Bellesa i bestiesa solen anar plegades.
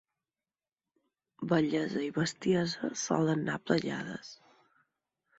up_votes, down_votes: 2, 4